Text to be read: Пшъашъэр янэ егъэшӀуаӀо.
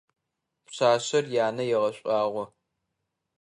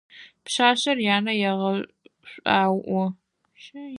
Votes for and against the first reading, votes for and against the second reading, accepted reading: 2, 1, 0, 4, first